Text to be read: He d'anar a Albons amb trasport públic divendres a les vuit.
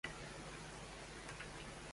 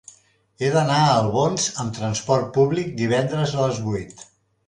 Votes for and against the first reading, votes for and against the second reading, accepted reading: 0, 2, 3, 1, second